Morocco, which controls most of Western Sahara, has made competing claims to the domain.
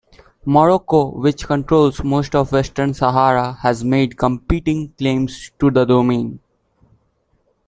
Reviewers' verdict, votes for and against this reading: accepted, 2, 0